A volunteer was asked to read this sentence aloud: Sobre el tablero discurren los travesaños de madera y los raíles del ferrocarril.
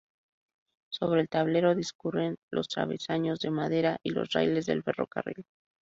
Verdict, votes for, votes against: rejected, 2, 2